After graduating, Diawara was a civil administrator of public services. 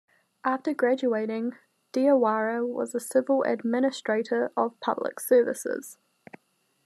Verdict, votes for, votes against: accepted, 2, 0